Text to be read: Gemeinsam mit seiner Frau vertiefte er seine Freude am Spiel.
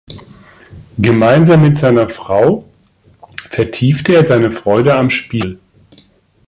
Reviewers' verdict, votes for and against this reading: accepted, 2, 0